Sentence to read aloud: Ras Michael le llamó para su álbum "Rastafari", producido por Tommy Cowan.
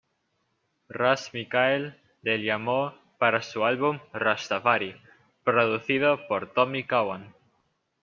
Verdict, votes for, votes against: rejected, 1, 2